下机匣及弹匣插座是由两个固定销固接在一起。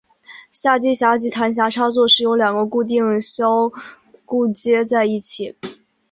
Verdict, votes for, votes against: accepted, 2, 1